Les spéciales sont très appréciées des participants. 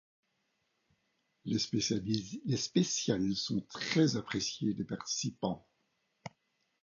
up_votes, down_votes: 2, 1